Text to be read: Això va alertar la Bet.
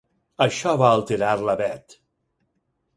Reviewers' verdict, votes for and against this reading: rejected, 2, 4